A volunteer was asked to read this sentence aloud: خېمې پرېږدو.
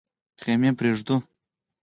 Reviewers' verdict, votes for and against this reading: accepted, 4, 0